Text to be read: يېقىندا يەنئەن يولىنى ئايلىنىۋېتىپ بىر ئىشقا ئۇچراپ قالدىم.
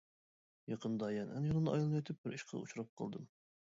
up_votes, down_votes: 1, 2